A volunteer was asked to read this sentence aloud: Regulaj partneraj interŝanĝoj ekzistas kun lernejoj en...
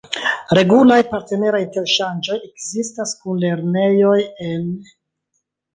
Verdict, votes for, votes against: accepted, 2, 0